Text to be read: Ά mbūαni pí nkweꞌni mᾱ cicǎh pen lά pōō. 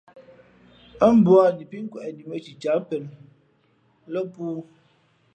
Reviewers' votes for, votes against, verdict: 2, 0, accepted